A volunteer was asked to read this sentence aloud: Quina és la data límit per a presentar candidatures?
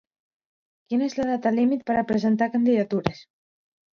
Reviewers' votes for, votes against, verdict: 2, 0, accepted